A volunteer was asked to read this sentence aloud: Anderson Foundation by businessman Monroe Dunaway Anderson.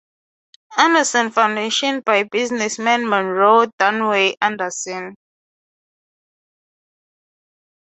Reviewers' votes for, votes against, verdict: 3, 0, accepted